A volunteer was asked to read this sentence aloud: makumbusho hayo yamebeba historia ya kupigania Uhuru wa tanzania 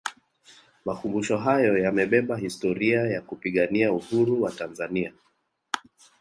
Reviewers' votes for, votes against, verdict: 1, 2, rejected